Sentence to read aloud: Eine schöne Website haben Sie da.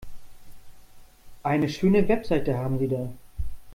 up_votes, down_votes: 1, 2